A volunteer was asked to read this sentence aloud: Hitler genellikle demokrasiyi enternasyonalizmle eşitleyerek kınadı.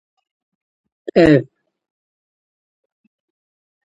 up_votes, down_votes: 0, 2